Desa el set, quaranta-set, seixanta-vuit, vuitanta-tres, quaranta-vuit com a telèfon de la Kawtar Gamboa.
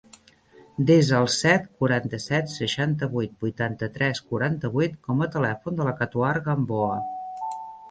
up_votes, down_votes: 0, 2